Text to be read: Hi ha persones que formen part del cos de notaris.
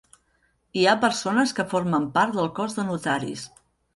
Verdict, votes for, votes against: accepted, 3, 0